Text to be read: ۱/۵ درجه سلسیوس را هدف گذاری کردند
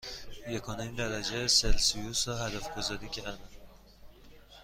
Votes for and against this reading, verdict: 0, 2, rejected